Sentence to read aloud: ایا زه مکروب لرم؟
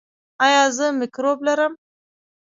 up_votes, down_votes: 1, 2